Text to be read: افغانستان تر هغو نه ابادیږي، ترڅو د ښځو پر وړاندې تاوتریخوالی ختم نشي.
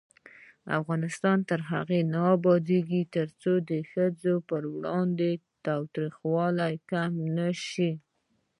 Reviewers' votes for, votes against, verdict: 2, 0, accepted